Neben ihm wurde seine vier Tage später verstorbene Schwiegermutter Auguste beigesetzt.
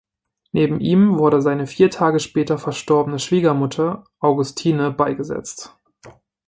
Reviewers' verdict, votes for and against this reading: rejected, 0, 2